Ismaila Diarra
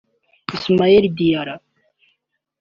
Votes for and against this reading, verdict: 1, 2, rejected